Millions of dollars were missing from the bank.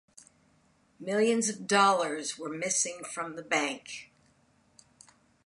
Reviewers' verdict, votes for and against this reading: accepted, 2, 0